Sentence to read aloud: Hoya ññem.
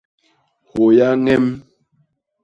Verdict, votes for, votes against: rejected, 0, 2